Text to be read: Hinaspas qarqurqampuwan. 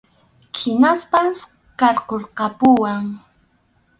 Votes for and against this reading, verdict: 2, 2, rejected